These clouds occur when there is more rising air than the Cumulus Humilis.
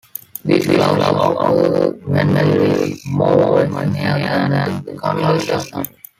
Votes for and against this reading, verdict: 0, 2, rejected